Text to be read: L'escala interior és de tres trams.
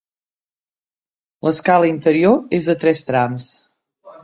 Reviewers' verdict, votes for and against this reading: accepted, 3, 0